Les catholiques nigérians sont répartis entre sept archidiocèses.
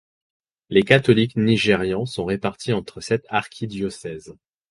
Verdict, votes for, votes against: rejected, 0, 4